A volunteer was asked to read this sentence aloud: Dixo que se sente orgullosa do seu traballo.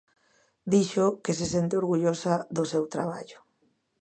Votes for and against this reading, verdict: 2, 0, accepted